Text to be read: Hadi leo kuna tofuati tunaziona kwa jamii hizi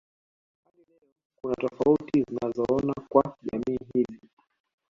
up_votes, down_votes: 0, 2